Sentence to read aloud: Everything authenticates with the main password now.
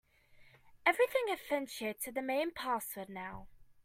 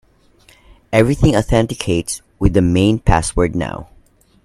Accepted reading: second